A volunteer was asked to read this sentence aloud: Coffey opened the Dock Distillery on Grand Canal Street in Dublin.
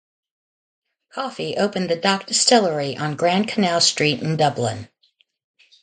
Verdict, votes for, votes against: accepted, 2, 0